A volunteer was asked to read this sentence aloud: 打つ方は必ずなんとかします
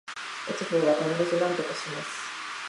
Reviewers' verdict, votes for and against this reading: rejected, 1, 2